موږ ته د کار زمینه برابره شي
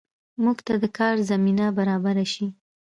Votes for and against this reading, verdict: 2, 0, accepted